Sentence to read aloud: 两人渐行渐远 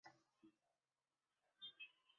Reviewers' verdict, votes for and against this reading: rejected, 0, 2